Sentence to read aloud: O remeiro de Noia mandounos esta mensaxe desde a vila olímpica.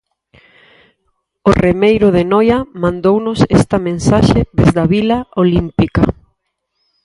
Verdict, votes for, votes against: accepted, 4, 0